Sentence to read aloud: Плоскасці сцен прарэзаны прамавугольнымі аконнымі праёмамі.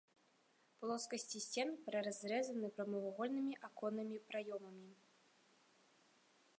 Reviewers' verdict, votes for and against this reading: rejected, 1, 2